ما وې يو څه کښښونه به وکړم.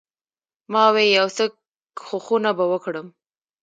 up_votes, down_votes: 0, 2